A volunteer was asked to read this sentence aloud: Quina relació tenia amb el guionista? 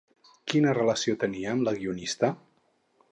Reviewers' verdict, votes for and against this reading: rejected, 2, 4